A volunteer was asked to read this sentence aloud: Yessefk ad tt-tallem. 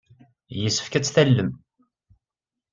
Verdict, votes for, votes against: accepted, 2, 0